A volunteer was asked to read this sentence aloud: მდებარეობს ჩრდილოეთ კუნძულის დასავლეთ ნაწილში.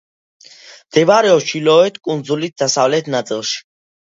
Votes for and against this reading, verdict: 2, 0, accepted